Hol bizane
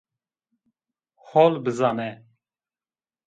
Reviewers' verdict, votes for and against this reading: accepted, 2, 0